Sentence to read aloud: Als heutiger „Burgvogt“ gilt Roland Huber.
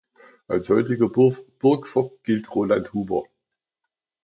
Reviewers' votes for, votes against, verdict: 0, 2, rejected